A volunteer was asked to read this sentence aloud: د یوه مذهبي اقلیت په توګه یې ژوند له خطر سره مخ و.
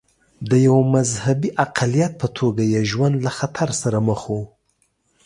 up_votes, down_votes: 2, 0